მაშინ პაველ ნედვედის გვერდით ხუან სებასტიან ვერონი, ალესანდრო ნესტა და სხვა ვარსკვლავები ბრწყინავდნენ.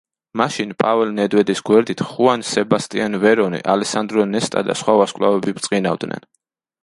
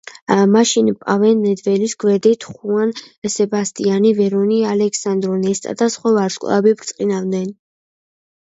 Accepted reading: first